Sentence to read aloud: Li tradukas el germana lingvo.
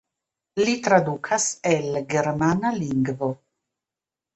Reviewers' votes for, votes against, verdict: 0, 2, rejected